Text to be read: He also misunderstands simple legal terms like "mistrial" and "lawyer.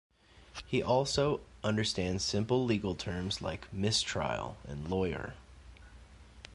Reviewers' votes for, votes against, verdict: 0, 2, rejected